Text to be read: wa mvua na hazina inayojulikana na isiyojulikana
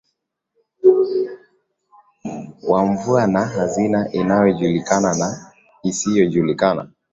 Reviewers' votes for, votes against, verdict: 2, 0, accepted